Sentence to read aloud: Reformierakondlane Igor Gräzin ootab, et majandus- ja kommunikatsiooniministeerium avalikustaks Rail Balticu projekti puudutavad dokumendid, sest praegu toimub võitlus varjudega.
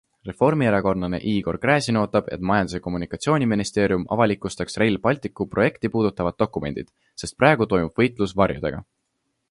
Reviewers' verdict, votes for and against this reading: accepted, 2, 0